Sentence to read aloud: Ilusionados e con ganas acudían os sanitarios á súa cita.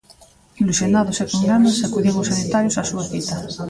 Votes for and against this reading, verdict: 1, 2, rejected